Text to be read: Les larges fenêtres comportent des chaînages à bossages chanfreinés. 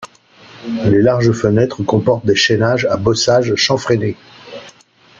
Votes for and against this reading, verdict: 3, 0, accepted